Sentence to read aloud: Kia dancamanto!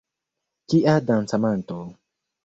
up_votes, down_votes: 1, 2